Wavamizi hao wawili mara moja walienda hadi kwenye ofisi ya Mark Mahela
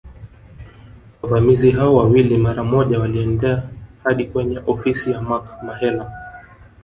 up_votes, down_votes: 0, 2